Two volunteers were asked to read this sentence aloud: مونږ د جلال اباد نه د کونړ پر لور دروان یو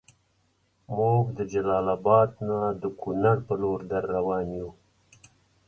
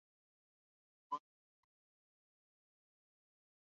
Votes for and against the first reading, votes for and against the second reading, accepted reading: 2, 0, 0, 2, first